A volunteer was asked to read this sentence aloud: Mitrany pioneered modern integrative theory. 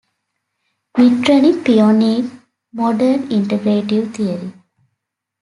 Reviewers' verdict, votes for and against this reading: rejected, 0, 2